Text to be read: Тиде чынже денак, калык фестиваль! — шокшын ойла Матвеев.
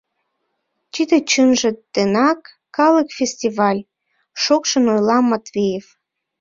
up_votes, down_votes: 1, 2